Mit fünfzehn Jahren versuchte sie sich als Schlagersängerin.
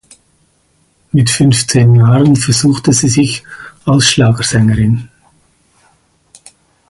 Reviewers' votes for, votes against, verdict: 4, 2, accepted